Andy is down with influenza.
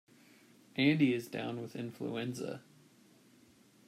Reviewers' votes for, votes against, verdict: 2, 0, accepted